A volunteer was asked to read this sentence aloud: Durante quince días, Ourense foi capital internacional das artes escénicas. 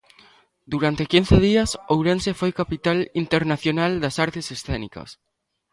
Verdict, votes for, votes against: accepted, 3, 0